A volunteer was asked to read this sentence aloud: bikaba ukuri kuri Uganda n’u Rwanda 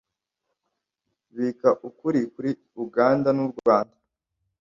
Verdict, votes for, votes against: rejected, 1, 2